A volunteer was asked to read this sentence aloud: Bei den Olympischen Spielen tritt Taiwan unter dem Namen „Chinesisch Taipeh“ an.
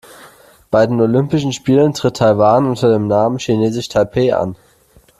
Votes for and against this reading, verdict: 2, 0, accepted